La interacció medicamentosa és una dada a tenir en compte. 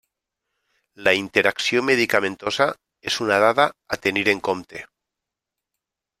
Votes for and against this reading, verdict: 3, 0, accepted